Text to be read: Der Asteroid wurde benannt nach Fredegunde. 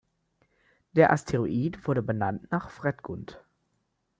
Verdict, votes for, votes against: rejected, 0, 2